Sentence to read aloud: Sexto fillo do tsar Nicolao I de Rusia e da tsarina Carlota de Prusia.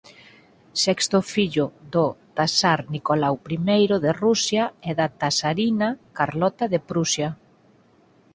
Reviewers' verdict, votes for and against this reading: rejected, 0, 4